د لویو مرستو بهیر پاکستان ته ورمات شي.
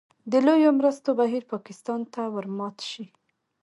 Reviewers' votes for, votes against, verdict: 2, 1, accepted